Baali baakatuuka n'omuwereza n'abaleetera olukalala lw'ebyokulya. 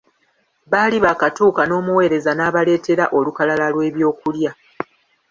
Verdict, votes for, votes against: rejected, 1, 2